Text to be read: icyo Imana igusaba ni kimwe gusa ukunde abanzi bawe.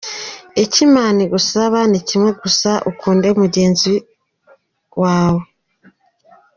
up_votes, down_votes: 0, 2